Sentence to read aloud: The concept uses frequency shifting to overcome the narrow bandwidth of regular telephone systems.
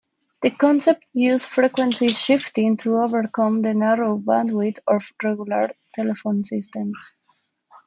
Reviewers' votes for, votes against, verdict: 1, 2, rejected